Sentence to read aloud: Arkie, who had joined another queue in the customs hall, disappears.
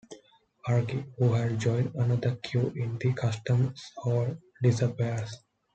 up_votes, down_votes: 2, 0